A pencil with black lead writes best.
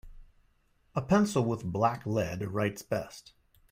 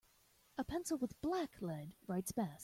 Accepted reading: first